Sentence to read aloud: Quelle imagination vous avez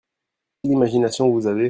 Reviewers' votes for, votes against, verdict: 0, 2, rejected